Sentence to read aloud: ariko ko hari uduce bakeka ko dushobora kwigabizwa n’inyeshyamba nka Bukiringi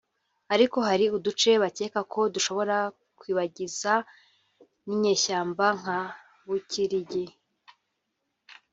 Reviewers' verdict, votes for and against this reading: rejected, 1, 2